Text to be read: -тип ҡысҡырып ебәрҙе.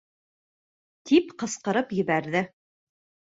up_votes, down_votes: 3, 0